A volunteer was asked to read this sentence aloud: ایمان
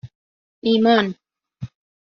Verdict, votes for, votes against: accepted, 2, 0